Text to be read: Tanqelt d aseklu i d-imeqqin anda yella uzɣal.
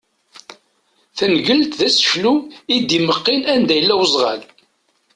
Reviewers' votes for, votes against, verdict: 1, 2, rejected